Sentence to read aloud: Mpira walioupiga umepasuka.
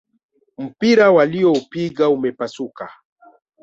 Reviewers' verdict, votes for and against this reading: accepted, 2, 0